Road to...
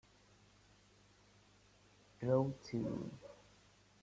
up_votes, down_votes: 1, 2